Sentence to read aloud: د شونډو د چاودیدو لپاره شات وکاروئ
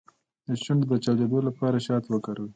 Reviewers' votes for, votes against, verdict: 2, 0, accepted